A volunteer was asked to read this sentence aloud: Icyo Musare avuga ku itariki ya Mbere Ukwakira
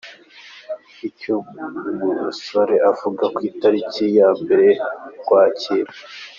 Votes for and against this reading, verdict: 2, 0, accepted